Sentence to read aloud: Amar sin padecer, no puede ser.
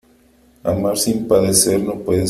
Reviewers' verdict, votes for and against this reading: rejected, 0, 3